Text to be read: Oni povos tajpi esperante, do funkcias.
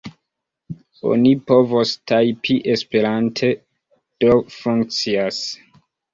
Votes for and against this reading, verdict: 2, 1, accepted